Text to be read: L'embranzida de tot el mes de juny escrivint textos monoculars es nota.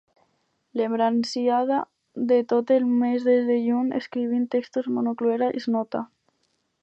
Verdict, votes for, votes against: rejected, 2, 6